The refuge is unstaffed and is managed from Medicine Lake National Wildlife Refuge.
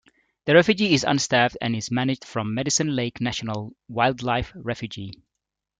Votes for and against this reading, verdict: 0, 2, rejected